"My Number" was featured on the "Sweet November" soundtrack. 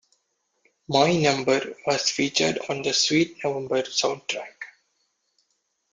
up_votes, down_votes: 0, 2